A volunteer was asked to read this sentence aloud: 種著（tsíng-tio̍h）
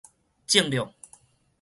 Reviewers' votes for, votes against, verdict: 2, 2, rejected